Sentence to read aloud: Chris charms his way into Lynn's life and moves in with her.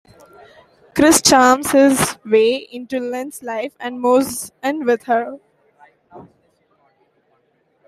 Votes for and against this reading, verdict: 2, 1, accepted